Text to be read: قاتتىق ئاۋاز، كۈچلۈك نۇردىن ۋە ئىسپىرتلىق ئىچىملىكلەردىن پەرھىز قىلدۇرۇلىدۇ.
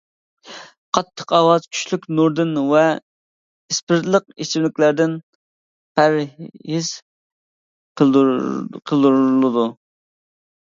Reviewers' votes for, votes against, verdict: 0, 2, rejected